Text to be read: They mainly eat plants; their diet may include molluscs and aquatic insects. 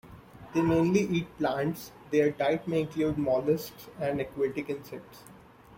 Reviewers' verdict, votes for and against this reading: accepted, 2, 0